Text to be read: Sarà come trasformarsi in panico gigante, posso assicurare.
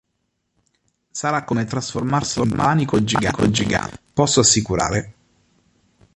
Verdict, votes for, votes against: rejected, 0, 3